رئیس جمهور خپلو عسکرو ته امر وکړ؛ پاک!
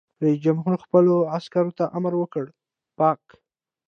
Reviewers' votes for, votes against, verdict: 2, 0, accepted